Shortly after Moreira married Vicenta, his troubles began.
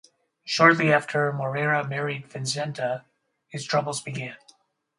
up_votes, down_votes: 2, 2